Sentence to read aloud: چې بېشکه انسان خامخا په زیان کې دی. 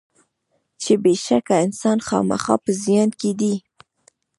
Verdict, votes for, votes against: accepted, 2, 0